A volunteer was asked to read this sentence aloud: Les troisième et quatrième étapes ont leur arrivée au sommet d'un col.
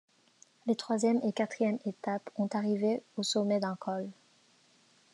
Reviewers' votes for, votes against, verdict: 1, 2, rejected